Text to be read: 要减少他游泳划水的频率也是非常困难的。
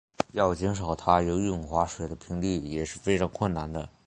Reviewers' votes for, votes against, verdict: 2, 0, accepted